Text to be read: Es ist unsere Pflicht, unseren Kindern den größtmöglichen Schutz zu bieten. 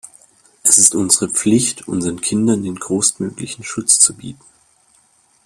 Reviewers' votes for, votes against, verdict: 1, 2, rejected